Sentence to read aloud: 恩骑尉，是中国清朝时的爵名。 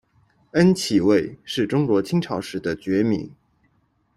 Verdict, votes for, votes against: accepted, 2, 0